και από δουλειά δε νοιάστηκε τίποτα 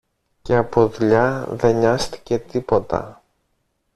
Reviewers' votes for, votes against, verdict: 1, 2, rejected